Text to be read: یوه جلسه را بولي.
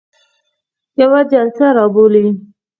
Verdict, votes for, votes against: accepted, 4, 0